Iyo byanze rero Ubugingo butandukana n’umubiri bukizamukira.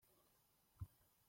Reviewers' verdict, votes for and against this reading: rejected, 0, 2